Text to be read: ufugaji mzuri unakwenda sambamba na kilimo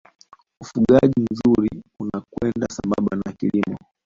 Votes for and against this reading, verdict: 1, 2, rejected